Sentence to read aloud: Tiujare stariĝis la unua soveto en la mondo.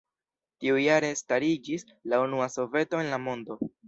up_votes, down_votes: 2, 0